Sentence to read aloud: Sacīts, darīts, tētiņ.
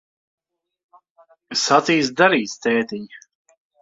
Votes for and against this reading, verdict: 1, 2, rejected